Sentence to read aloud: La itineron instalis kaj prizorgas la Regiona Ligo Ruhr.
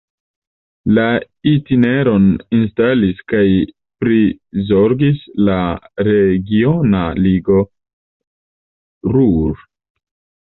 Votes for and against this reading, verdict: 2, 0, accepted